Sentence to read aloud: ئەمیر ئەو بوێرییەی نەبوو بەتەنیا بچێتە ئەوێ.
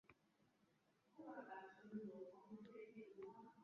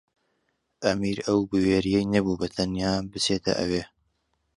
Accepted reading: second